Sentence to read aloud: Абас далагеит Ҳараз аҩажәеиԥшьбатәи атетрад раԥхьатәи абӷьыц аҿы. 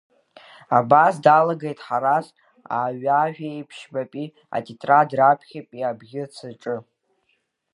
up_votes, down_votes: 2, 1